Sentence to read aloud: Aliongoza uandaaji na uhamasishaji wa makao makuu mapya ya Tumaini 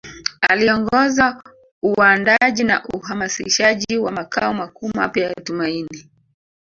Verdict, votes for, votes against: rejected, 1, 2